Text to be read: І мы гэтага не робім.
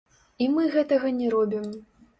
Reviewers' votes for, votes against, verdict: 0, 2, rejected